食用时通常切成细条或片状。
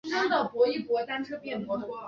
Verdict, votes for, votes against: accepted, 2, 1